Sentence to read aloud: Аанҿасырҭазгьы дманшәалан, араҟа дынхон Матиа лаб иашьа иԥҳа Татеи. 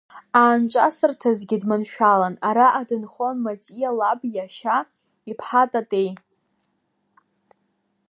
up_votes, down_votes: 2, 0